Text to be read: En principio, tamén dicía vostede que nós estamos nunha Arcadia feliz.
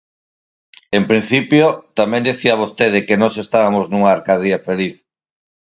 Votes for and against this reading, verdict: 2, 4, rejected